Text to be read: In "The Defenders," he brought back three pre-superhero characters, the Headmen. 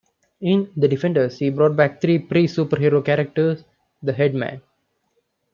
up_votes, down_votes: 2, 0